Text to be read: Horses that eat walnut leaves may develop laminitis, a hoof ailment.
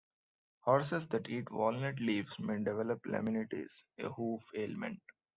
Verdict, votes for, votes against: accepted, 2, 0